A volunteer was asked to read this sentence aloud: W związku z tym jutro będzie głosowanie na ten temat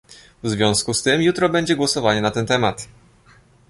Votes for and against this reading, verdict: 2, 0, accepted